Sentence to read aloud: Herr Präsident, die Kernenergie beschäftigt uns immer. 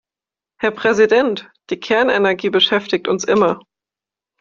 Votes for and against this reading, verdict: 2, 0, accepted